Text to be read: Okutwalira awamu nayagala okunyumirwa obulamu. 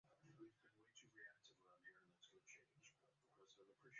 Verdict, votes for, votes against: rejected, 0, 2